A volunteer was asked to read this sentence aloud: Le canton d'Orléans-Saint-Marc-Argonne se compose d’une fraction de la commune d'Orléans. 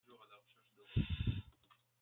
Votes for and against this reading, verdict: 0, 2, rejected